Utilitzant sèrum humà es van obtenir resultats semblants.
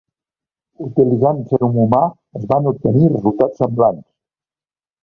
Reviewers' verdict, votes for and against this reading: rejected, 1, 2